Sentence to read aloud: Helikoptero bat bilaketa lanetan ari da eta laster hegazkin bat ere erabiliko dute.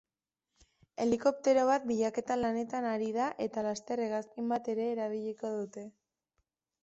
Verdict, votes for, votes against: accepted, 4, 0